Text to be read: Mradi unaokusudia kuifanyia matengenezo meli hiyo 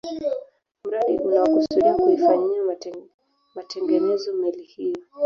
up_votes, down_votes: 1, 2